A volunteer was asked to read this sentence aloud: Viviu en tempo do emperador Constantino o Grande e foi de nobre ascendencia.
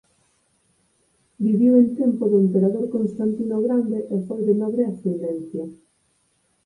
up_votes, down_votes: 4, 0